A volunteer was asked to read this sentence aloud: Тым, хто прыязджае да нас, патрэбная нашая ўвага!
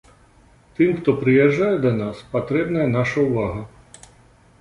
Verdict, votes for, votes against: rejected, 1, 2